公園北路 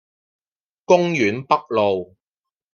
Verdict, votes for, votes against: accepted, 2, 0